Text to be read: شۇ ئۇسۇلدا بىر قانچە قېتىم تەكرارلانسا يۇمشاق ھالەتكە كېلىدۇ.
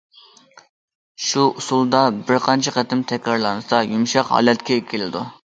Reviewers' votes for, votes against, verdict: 2, 0, accepted